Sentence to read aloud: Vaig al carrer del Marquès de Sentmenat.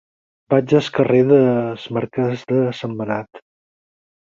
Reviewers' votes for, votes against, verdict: 0, 4, rejected